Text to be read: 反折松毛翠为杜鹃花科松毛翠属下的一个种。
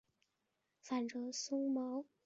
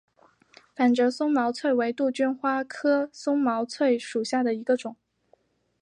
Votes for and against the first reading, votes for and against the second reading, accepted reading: 0, 4, 2, 0, second